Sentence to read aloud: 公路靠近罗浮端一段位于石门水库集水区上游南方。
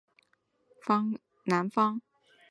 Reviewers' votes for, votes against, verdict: 2, 4, rejected